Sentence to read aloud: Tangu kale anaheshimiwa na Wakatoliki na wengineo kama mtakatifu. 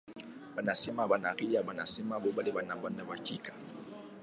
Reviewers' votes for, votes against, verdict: 0, 2, rejected